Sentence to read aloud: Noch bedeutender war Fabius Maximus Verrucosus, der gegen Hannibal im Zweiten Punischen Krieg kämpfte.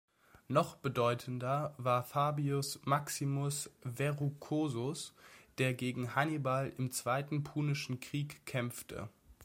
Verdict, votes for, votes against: accepted, 2, 0